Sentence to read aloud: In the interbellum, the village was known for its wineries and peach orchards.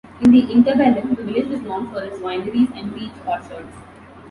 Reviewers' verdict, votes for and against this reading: rejected, 1, 2